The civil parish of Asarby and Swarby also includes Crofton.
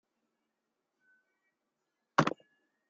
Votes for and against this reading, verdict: 0, 2, rejected